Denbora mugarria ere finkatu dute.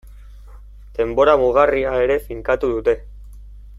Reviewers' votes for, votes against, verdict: 2, 0, accepted